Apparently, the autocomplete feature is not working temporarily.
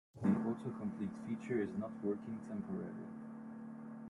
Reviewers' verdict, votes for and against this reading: rejected, 0, 2